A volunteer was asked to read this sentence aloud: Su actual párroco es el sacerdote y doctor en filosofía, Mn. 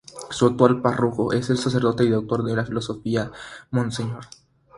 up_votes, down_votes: 3, 0